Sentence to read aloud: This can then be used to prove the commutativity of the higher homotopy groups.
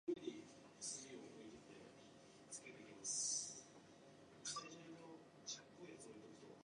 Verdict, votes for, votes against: rejected, 0, 2